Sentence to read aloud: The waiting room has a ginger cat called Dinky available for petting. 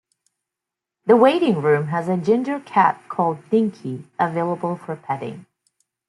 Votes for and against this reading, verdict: 2, 0, accepted